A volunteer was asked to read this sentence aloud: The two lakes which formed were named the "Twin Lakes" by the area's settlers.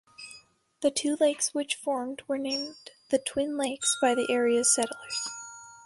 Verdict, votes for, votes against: rejected, 0, 2